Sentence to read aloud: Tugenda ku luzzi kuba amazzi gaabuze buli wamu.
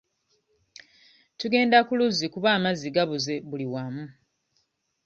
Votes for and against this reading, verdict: 1, 2, rejected